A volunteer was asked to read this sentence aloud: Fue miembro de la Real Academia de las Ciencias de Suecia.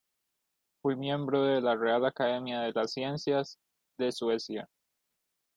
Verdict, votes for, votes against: accepted, 2, 0